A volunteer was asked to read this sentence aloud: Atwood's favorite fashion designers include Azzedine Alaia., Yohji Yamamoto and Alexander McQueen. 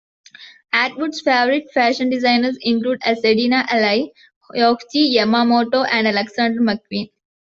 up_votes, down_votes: 2, 0